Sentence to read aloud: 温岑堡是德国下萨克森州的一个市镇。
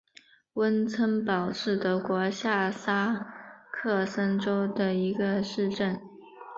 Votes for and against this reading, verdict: 5, 0, accepted